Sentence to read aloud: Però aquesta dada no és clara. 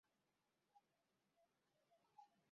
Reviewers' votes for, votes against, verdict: 0, 3, rejected